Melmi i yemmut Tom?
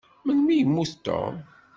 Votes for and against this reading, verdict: 2, 0, accepted